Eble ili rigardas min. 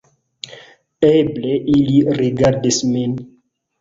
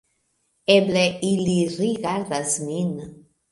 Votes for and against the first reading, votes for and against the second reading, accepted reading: 0, 2, 2, 1, second